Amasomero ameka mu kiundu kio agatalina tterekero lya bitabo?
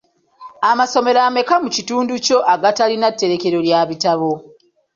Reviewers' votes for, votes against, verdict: 2, 1, accepted